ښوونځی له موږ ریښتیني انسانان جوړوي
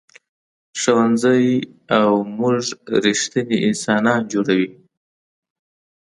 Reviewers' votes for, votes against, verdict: 2, 0, accepted